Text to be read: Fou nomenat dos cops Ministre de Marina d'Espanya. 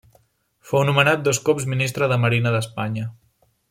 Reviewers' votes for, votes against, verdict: 3, 0, accepted